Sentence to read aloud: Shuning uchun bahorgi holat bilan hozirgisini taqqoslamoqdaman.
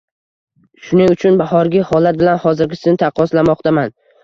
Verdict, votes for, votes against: accepted, 2, 0